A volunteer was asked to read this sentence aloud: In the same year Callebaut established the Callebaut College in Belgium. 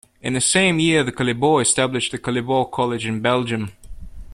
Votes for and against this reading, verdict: 2, 4, rejected